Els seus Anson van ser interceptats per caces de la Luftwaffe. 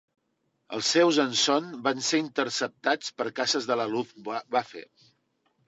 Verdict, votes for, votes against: rejected, 1, 2